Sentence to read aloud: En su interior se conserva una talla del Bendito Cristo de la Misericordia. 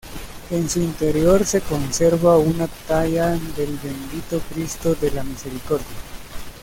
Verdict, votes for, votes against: accepted, 2, 1